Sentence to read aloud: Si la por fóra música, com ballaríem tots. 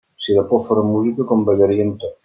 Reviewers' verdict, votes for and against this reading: rejected, 0, 2